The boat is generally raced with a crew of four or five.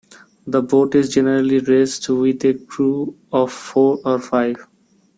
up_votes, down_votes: 2, 1